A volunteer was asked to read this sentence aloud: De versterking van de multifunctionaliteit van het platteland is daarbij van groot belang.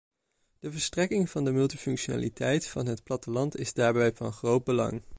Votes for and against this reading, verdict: 1, 2, rejected